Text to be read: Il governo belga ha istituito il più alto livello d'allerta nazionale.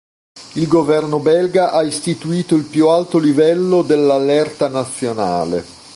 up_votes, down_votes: 1, 2